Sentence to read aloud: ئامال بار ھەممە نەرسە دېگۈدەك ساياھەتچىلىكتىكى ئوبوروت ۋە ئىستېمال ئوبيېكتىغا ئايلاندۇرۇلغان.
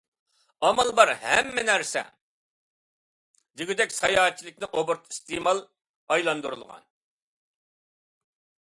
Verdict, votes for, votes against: rejected, 0, 2